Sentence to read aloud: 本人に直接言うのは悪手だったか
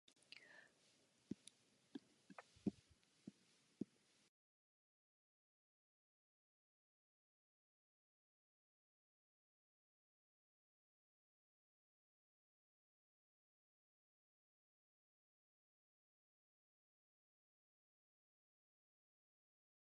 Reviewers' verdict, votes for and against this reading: rejected, 0, 4